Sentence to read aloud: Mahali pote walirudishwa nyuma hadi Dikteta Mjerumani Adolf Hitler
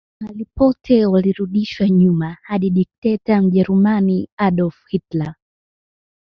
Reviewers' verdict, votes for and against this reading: accepted, 2, 0